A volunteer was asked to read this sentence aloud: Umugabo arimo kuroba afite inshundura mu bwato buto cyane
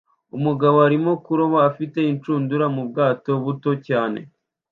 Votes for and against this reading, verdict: 2, 0, accepted